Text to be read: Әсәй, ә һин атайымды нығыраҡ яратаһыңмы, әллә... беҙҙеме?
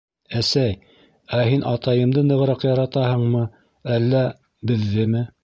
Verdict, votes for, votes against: accepted, 3, 0